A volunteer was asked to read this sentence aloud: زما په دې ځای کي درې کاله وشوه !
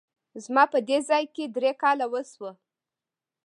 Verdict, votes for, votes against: accepted, 2, 0